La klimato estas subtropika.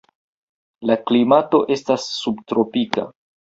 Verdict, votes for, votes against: accepted, 2, 0